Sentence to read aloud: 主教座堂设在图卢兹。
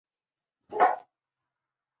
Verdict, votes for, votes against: rejected, 0, 2